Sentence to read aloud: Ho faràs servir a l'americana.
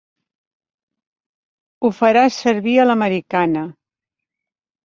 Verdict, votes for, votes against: accepted, 2, 0